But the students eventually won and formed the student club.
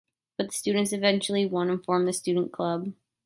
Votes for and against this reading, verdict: 2, 1, accepted